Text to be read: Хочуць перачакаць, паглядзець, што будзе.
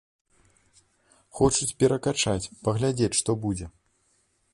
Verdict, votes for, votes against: rejected, 1, 2